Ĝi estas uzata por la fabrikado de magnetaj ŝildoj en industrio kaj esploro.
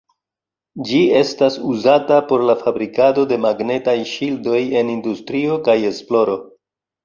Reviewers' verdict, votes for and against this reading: accepted, 2, 0